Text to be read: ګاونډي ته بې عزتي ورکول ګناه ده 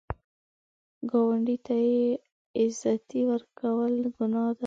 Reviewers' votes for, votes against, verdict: 1, 2, rejected